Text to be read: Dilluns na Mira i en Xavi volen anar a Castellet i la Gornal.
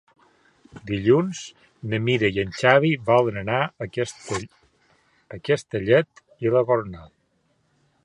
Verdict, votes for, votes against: rejected, 0, 2